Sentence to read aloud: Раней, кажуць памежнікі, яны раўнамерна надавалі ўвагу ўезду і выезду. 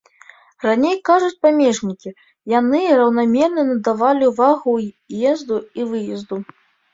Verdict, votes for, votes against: accepted, 2, 0